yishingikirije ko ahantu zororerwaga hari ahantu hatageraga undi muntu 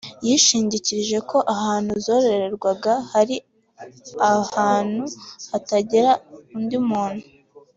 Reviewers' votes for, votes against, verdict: 2, 1, accepted